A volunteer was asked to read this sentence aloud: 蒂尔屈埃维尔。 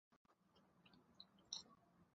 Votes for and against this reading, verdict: 0, 2, rejected